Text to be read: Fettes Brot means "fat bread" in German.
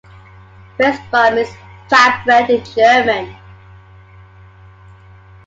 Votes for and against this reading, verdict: 0, 2, rejected